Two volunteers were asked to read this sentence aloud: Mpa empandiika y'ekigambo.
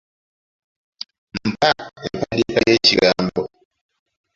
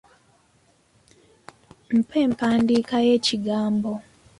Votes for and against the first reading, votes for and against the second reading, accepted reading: 0, 2, 2, 0, second